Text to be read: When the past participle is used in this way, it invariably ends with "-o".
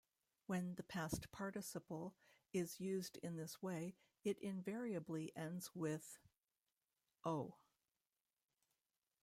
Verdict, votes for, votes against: rejected, 1, 2